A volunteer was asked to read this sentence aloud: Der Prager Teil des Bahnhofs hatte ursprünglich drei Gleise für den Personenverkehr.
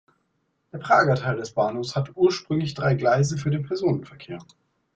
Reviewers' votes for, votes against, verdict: 2, 0, accepted